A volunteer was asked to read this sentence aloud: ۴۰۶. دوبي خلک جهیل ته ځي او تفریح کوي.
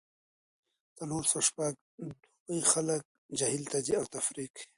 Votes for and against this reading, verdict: 0, 2, rejected